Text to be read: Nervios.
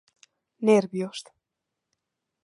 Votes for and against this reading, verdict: 2, 0, accepted